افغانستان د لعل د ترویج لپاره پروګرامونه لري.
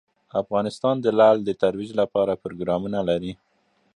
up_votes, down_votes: 2, 0